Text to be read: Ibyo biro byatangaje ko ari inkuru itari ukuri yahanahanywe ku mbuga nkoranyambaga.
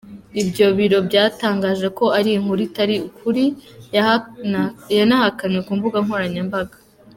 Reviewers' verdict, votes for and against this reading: rejected, 3, 4